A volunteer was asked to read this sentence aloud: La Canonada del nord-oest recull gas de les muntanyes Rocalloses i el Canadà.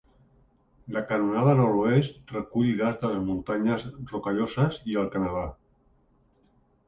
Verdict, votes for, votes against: rejected, 1, 2